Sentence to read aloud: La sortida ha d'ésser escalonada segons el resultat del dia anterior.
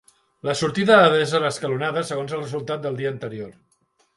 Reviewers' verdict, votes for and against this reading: accepted, 2, 0